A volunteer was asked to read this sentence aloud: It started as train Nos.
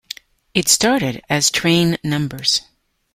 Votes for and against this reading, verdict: 0, 2, rejected